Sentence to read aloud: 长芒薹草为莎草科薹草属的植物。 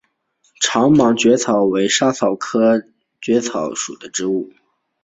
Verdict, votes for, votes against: accepted, 4, 1